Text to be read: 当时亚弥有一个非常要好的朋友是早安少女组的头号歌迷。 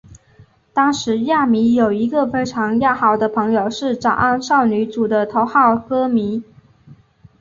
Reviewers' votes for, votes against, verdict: 2, 1, accepted